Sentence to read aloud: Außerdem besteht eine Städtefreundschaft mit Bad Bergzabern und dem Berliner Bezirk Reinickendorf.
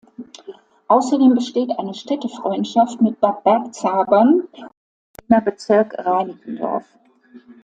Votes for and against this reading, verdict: 0, 2, rejected